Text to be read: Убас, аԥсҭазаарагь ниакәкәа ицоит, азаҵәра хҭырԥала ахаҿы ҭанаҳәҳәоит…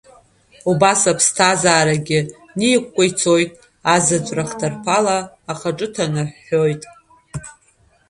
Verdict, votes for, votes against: rejected, 0, 2